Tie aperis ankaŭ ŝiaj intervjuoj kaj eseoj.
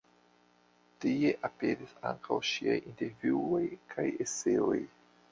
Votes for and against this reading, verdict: 0, 2, rejected